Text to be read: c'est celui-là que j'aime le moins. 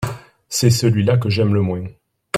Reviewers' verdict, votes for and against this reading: accepted, 2, 0